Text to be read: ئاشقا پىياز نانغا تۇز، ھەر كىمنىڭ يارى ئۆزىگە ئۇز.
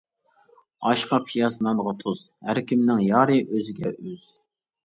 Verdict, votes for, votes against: rejected, 0, 2